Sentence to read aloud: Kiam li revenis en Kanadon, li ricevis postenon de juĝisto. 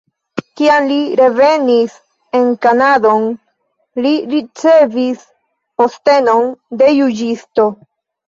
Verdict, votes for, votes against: rejected, 0, 2